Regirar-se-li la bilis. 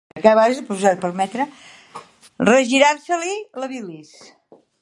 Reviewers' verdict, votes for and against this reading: rejected, 1, 2